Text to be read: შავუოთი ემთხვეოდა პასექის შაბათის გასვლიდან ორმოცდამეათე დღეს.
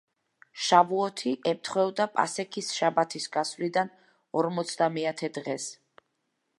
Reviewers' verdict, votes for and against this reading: accepted, 2, 1